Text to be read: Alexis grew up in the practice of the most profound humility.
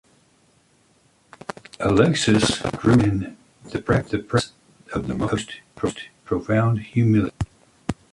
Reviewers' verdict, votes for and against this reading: rejected, 0, 2